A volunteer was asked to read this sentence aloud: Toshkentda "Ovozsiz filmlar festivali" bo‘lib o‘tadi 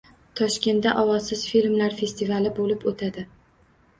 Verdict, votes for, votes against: accepted, 2, 0